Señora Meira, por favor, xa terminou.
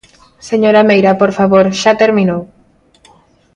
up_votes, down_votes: 2, 0